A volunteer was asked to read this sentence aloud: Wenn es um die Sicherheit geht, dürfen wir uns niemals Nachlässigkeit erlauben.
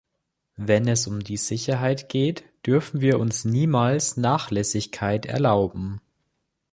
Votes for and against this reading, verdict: 2, 0, accepted